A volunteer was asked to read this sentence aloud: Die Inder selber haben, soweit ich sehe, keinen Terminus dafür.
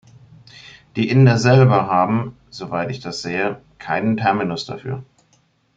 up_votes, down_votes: 0, 2